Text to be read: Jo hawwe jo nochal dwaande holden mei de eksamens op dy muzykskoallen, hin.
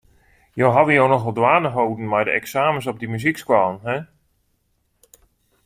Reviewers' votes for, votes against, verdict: 2, 0, accepted